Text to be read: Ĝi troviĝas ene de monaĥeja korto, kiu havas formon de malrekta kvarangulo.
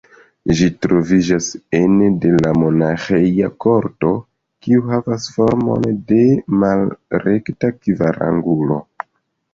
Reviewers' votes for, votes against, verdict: 2, 0, accepted